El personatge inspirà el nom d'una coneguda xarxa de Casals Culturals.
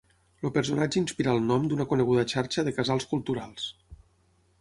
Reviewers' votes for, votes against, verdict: 0, 6, rejected